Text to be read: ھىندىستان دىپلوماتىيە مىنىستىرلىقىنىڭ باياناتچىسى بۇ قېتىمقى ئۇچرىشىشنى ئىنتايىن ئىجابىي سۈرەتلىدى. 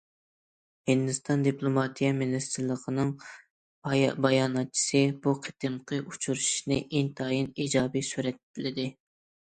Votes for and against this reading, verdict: 1, 2, rejected